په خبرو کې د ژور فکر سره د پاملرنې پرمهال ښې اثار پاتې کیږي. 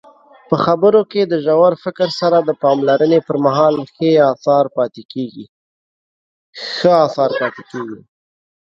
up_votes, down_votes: 0, 2